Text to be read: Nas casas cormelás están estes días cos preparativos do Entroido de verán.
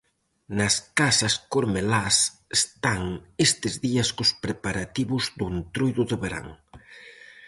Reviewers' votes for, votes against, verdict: 2, 2, rejected